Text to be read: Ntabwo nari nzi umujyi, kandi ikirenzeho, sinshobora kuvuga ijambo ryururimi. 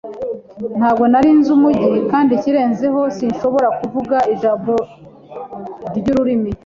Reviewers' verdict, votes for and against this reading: accepted, 2, 0